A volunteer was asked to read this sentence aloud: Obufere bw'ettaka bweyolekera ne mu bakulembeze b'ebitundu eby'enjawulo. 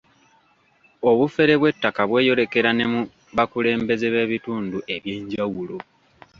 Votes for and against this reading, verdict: 2, 0, accepted